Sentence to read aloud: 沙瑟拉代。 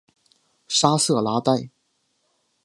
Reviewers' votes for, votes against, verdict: 2, 0, accepted